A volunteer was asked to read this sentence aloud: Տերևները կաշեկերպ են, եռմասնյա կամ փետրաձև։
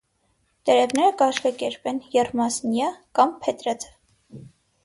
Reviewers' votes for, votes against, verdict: 6, 0, accepted